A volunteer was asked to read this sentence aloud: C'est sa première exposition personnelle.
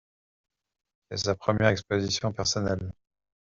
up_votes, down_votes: 1, 2